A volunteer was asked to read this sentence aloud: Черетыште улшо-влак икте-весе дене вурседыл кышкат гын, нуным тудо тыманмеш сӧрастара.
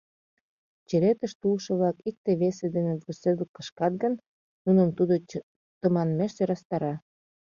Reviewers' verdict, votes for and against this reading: rejected, 0, 2